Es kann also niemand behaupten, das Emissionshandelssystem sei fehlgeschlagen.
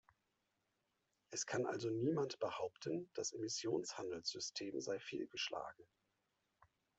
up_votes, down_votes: 2, 1